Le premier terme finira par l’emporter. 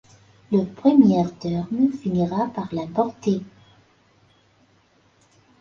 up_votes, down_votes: 0, 2